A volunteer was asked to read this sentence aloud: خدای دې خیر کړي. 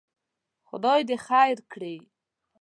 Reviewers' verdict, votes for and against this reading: accepted, 2, 0